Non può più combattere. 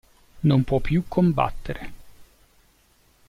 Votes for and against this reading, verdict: 2, 0, accepted